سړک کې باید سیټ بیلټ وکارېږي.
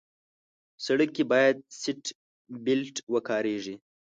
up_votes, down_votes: 2, 0